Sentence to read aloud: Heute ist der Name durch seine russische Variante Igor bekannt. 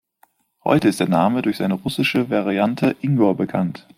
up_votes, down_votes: 0, 2